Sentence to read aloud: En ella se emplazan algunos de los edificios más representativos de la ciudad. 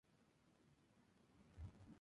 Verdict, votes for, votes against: rejected, 0, 2